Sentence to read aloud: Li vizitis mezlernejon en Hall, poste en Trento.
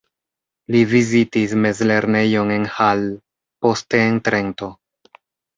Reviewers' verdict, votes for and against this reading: accepted, 2, 1